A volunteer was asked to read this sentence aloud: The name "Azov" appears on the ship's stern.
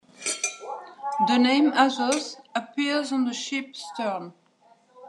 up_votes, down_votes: 2, 0